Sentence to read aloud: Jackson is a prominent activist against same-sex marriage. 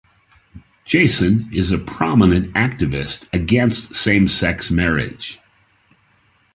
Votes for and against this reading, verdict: 0, 2, rejected